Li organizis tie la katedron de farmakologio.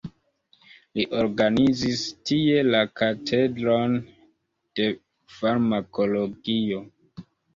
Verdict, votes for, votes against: accepted, 2, 1